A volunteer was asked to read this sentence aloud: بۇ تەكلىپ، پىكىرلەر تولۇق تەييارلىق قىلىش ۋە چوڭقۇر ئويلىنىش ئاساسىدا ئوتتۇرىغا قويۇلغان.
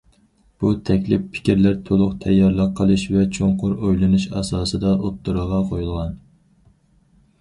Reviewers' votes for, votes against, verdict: 4, 0, accepted